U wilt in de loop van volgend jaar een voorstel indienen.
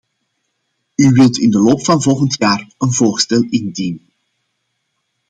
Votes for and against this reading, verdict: 0, 2, rejected